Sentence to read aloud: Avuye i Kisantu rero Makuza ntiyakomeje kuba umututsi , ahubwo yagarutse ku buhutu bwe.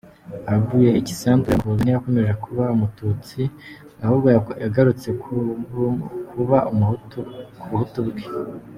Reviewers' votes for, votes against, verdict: 0, 2, rejected